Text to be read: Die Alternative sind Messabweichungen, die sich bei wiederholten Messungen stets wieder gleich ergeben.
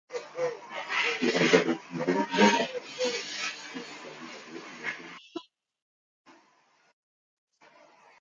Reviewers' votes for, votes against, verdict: 0, 2, rejected